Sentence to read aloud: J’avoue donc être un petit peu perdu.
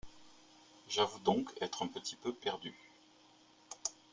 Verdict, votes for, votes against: accepted, 4, 0